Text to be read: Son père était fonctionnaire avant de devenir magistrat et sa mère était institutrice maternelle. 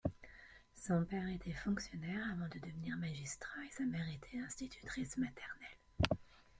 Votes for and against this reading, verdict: 0, 2, rejected